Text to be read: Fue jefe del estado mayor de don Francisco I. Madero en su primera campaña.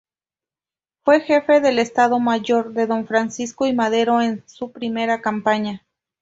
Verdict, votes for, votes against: rejected, 0, 2